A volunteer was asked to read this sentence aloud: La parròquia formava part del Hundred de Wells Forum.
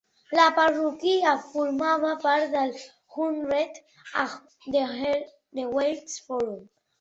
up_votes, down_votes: 1, 2